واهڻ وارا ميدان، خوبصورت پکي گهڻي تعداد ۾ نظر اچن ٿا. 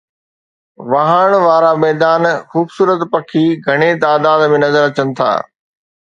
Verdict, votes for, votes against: accepted, 2, 0